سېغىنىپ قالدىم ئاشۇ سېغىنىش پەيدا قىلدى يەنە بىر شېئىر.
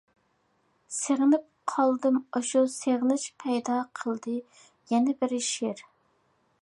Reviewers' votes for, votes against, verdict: 1, 2, rejected